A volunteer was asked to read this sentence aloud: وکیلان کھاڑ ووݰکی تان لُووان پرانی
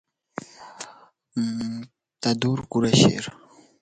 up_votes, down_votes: 1, 2